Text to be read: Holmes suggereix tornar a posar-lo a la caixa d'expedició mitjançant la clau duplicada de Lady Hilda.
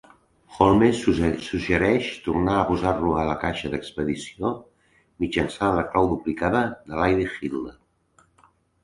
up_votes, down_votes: 1, 3